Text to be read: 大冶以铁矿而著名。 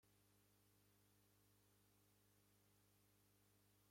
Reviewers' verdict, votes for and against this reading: rejected, 1, 2